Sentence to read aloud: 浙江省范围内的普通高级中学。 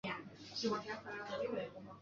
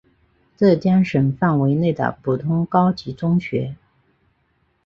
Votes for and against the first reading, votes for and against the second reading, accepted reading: 0, 4, 3, 0, second